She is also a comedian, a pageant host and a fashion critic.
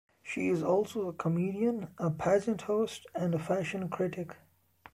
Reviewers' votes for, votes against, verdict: 2, 0, accepted